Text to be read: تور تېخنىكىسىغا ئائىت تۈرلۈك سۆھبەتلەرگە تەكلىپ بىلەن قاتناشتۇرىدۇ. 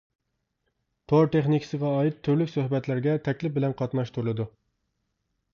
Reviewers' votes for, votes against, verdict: 1, 2, rejected